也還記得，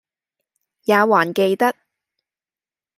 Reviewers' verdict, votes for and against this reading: accepted, 2, 0